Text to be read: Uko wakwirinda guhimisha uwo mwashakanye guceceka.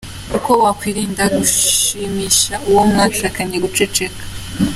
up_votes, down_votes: 0, 2